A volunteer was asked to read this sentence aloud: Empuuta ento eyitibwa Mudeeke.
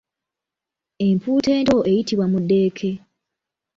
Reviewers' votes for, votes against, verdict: 2, 0, accepted